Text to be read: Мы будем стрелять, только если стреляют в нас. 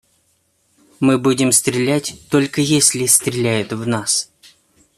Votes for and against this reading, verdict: 2, 0, accepted